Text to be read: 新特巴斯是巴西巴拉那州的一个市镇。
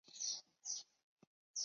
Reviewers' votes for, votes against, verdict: 1, 2, rejected